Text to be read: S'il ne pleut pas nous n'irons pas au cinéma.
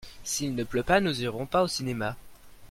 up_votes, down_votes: 1, 2